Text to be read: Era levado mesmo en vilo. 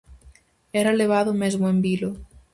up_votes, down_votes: 4, 0